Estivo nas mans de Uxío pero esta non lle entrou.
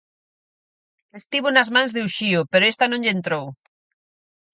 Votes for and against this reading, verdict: 4, 0, accepted